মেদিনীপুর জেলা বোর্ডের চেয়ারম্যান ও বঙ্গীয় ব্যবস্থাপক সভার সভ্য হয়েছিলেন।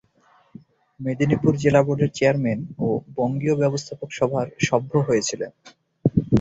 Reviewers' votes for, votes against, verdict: 8, 4, accepted